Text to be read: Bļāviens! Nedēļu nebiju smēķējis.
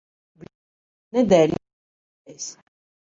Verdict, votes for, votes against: rejected, 0, 2